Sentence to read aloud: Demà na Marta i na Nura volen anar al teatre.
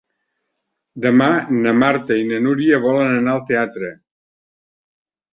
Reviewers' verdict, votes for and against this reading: rejected, 0, 2